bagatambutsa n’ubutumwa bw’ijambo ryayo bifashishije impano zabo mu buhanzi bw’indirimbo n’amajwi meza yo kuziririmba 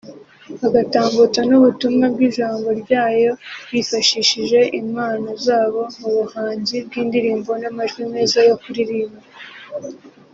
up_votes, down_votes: 0, 2